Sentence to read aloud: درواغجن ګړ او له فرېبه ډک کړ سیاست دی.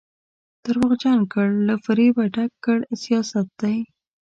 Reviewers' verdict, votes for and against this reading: accepted, 2, 0